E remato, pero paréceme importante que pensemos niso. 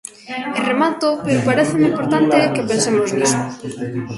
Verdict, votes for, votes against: rejected, 0, 2